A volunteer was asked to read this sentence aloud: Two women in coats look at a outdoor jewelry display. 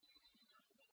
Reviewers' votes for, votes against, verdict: 0, 2, rejected